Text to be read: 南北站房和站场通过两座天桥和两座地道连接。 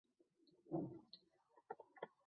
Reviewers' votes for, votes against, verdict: 0, 2, rejected